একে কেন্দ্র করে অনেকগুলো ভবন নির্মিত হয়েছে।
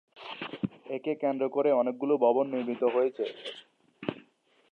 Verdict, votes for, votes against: rejected, 0, 2